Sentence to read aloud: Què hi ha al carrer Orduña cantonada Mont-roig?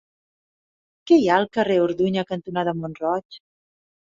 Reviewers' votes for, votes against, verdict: 3, 0, accepted